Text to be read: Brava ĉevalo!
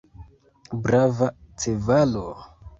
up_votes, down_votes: 1, 2